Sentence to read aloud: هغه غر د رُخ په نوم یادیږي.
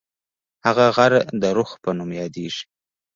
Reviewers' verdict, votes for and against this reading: rejected, 1, 2